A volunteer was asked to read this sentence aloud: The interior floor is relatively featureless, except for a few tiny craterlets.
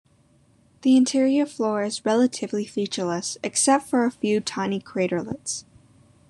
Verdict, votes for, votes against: rejected, 1, 2